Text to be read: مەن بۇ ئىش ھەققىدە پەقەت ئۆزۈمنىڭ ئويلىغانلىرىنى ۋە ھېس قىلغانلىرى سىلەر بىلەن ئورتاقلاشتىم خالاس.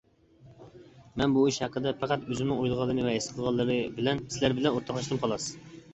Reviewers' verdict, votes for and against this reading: rejected, 1, 2